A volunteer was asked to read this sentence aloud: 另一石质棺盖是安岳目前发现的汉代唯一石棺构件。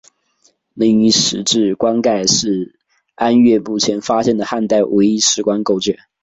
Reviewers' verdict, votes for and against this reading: accepted, 7, 0